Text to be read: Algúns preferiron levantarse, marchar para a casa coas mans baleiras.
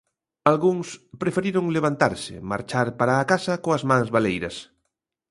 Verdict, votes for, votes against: accepted, 2, 0